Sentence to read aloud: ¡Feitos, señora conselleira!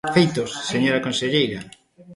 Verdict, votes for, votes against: accepted, 2, 1